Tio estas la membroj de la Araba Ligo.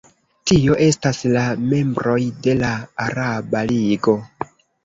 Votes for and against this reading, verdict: 1, 2, rejected